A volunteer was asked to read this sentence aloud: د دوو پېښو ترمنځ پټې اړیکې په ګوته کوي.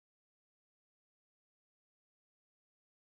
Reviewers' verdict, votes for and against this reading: rejected, 1, 2